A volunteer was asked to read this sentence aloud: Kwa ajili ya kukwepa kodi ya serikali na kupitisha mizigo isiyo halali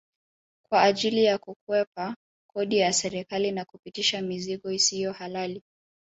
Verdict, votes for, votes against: rejected, 1, 2